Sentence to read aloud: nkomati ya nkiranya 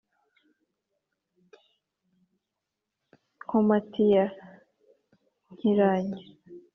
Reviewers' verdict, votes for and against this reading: accepted, 3, 0